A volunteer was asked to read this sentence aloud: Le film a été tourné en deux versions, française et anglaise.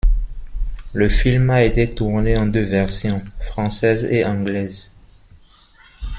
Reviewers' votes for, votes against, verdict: 2, 1, accepted